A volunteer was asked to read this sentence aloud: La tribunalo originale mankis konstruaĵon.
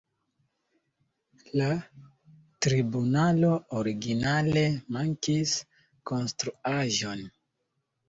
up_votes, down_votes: 2, 1